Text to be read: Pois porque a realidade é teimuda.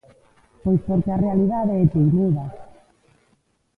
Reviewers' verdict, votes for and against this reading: rejected, 1, 2